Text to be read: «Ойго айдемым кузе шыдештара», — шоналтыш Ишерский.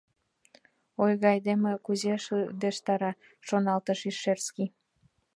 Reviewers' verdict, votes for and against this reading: rejected, 1, 2